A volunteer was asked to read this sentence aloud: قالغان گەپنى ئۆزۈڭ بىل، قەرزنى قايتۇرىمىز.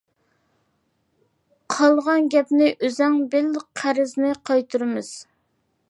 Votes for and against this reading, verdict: 2, 3, rejected